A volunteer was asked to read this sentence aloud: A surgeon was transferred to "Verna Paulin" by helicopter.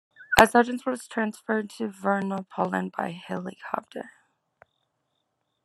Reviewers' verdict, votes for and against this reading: accepted, 2, 0